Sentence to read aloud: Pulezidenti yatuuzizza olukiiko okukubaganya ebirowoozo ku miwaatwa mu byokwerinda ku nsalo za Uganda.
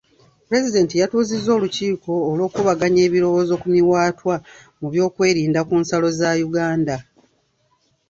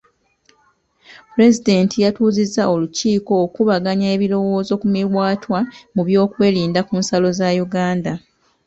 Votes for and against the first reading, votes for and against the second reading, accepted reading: 0, 2, 2, 0, second